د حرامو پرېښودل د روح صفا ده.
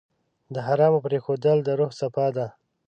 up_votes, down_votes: 2, 0